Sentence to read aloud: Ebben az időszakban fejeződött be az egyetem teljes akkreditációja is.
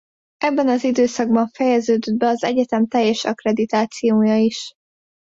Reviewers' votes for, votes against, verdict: 2, 0, accepted